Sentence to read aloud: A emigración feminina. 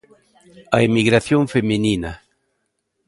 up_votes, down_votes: 1, 2